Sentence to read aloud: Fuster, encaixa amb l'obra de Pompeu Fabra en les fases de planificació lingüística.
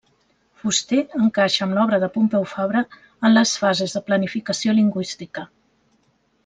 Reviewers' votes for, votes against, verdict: 2, 0, accepted